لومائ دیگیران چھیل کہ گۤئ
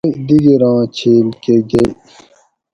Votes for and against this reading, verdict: 2, 2, rejected